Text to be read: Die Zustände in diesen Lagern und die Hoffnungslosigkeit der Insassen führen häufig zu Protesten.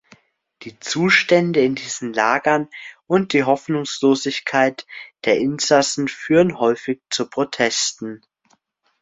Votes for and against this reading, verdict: 2, 0, accepted